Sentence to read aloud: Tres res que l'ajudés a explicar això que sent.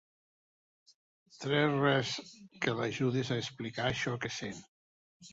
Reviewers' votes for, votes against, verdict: 2, 0, accepted